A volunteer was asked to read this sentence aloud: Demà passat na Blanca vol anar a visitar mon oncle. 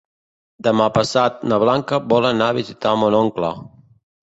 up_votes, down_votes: 2, 1